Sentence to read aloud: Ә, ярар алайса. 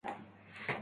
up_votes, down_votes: 0, 2